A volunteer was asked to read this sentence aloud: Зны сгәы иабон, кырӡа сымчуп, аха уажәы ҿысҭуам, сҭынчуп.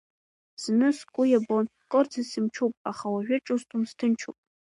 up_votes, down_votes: 3, 1